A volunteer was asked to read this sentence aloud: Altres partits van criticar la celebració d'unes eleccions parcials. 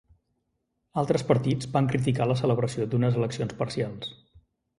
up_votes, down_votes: 3, 0